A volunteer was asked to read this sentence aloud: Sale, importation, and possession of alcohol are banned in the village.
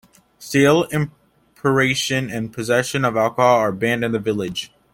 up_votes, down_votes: 1, 2